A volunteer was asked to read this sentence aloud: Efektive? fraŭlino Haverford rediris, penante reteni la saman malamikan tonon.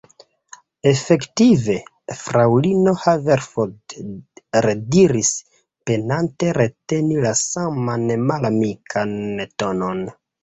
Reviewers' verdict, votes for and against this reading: accepted, 2, 0